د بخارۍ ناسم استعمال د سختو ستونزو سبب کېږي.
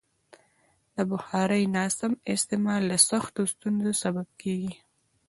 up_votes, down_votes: 2, 0